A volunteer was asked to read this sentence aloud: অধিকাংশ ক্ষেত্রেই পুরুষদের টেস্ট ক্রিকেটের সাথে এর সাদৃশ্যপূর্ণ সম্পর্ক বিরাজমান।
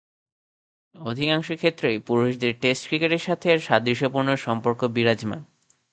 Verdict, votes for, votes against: rejected, 2, 2